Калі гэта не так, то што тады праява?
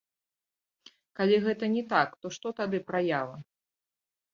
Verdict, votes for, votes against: rejected, 0, 2